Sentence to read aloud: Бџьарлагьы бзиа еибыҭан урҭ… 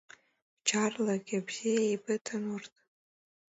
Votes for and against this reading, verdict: 2, 0, accepted